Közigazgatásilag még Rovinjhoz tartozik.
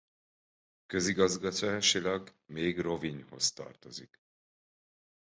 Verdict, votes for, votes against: rejected, 1, 2